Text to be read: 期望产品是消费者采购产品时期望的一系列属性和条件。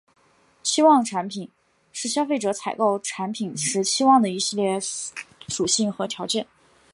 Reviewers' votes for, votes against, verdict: 2, 1, accepted